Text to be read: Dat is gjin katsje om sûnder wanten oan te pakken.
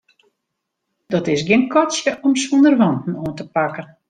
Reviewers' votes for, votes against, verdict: 2, 1, accepted